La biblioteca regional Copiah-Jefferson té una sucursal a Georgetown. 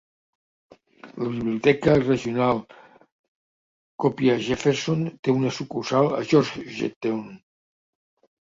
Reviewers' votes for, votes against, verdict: 0, 2, rejected